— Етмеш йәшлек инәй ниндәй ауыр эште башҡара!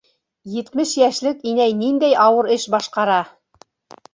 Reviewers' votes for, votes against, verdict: 0, 2, rejected